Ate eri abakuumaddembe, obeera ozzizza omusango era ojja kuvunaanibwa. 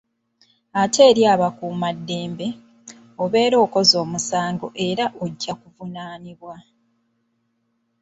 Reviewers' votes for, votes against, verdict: 1, 2, rejected